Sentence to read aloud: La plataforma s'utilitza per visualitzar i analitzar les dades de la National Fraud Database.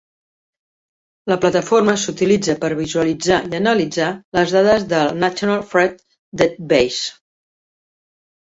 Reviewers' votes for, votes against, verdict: 1, 2, rejected